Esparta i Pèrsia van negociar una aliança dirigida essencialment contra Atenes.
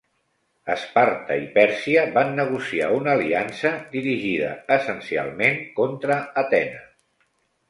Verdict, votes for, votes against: accepted, 2, 0